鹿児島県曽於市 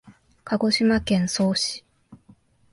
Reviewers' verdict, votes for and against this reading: accepted, 2, 1